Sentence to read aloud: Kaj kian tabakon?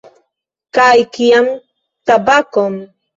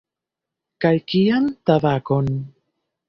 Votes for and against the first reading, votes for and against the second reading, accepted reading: 2, 1, 1, 2, first